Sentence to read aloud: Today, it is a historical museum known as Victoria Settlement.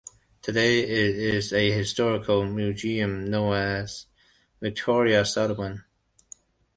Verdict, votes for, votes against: rejected, 0, 2